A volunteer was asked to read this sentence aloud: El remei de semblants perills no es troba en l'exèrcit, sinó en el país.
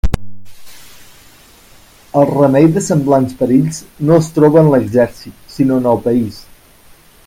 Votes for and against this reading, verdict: 3, 0, accepted